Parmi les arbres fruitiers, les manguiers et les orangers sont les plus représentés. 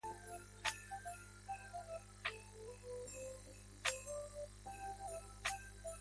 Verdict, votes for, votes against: rejected, 0, 2